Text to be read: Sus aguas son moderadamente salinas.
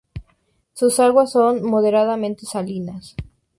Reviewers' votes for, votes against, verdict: 4, 0, accepted